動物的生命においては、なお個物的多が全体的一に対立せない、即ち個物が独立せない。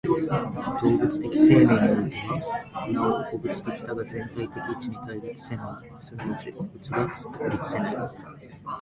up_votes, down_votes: 2, 3